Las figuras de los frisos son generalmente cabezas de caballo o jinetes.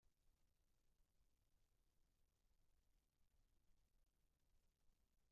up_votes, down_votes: 0, 2